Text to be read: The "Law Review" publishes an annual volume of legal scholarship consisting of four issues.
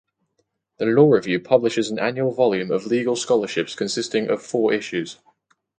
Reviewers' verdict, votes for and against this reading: accepted, 2, 0